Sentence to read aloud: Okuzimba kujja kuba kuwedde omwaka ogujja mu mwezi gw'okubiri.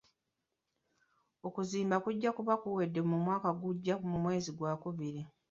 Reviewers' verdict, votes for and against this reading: rejected, 1, 2